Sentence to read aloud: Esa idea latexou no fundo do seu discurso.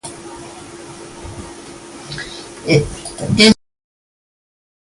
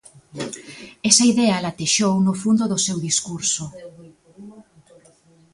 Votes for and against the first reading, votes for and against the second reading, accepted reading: 0, 2, 2, 0, second